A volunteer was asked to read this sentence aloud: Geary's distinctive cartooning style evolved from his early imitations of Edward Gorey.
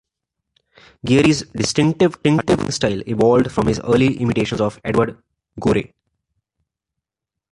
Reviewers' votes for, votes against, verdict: 2, 1, accepted